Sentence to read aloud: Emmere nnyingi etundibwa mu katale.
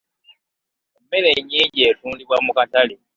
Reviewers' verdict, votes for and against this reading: accepted, 2, 0